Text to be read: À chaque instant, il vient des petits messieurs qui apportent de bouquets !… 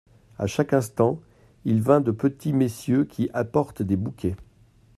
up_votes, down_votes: 0, 2